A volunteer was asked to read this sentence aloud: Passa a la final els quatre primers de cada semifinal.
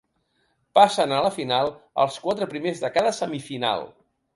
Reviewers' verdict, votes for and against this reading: rejected, 1, 2